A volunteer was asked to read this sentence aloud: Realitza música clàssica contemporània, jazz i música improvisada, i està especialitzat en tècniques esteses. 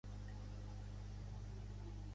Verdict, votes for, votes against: rejected, 2, 3